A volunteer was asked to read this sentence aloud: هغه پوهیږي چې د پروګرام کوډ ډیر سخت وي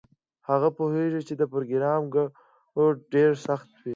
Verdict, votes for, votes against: accepted, 2, 0